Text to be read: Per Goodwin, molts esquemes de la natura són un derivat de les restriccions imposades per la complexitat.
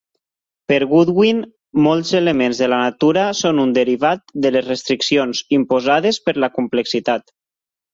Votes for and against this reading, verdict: 2, 4, rejected